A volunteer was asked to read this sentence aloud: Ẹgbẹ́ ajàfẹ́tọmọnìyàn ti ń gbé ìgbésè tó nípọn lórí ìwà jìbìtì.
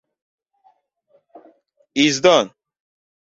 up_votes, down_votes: 0, 2